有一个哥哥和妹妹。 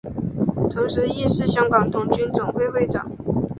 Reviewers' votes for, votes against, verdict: 2, 0, accepted